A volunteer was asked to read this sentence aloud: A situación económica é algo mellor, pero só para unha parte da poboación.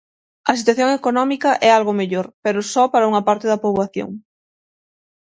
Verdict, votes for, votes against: accepted, 6, 0